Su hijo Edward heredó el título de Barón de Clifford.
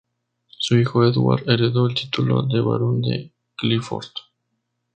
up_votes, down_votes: 2, 0